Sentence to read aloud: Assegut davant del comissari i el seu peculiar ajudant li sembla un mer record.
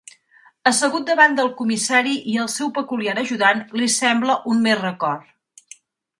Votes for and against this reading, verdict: 2, 0, accepted